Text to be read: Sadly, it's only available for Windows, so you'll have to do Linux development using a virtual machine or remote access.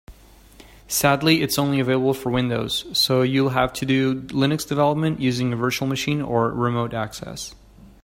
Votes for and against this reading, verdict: 4, 0, accepted